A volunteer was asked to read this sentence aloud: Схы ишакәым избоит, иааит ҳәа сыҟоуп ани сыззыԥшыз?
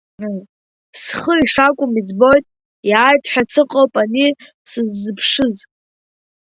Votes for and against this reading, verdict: 0, 2, rejected